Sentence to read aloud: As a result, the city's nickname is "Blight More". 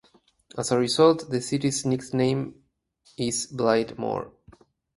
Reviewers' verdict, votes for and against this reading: rejected, 2, 2